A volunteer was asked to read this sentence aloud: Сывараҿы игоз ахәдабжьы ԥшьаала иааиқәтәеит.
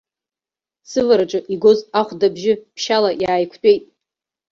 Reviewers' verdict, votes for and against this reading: accepted, 2, 1